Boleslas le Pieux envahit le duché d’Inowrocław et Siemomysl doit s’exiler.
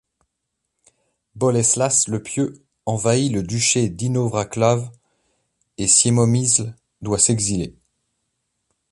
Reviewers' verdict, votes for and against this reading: accepted, 2, 0